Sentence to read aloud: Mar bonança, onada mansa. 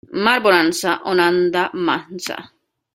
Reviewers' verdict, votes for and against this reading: rejected, 0, 2